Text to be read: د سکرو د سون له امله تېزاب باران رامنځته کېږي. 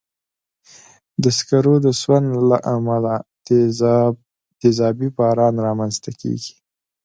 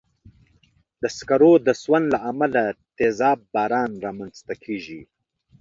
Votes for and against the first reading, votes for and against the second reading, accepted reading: 0, 2, 3, 0, second